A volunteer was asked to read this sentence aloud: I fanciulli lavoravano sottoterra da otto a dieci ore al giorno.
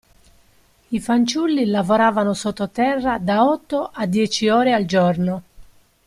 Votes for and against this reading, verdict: 2, 0, accepted